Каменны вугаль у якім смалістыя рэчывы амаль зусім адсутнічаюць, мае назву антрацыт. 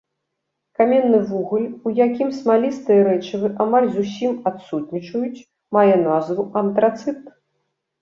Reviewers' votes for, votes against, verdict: 2, 0, accepted